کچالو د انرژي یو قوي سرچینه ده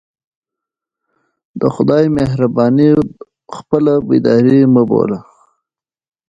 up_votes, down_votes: 1, 2